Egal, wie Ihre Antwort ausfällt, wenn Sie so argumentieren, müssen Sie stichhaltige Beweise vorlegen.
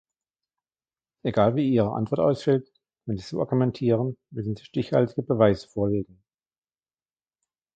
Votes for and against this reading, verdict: 2, 1, accepted